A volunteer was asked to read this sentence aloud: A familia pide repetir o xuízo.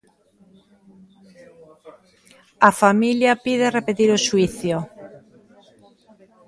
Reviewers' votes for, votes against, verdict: 0, 3, rejected